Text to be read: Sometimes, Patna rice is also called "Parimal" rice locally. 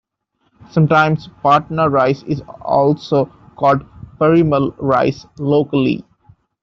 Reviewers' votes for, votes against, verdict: 2, 1, accepted